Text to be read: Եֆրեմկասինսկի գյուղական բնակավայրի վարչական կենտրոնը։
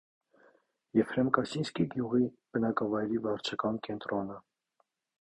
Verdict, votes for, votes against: rejected, 0, 2